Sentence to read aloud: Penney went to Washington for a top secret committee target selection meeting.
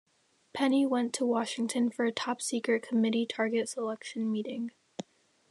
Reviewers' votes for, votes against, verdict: 2, 0, accepted